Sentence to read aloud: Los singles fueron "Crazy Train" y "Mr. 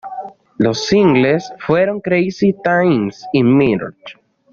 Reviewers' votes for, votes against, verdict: 1, 2, rejected